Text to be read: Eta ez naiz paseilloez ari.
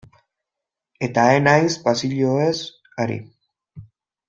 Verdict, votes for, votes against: rejected, 1, 2